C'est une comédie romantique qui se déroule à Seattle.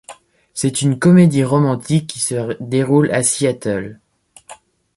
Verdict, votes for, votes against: rejected, 1, 2